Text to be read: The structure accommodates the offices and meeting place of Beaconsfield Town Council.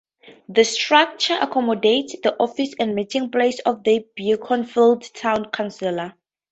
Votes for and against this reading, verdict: 2, 0, accepted